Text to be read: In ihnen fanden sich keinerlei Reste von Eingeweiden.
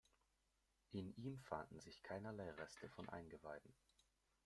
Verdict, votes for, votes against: rejected, 0, 2